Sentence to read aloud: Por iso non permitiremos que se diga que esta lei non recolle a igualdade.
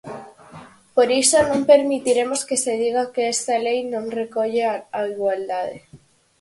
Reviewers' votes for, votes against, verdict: 0, 4, rejected